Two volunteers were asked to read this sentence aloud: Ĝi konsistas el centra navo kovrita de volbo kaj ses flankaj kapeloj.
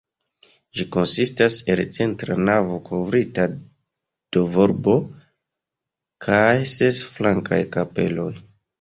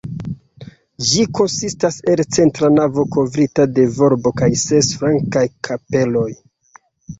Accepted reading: second